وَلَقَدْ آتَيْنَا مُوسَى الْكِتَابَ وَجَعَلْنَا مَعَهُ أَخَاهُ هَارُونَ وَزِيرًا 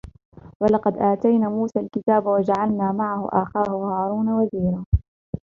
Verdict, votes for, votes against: rejected, 2, 3